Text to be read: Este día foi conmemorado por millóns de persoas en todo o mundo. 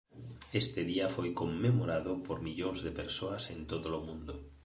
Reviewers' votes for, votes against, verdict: 1, 2, rejected